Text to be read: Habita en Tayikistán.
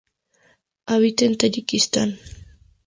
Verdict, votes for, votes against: accepted, 4, 0